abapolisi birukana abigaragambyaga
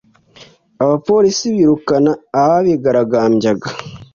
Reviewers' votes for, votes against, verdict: 1, 2, rejected